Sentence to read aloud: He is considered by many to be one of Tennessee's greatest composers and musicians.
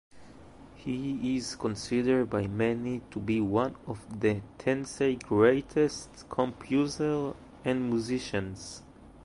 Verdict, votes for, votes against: rejected, 0, 2